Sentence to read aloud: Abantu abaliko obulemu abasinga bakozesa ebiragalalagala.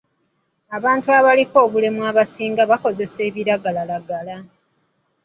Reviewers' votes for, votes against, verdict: 2, 0, accepted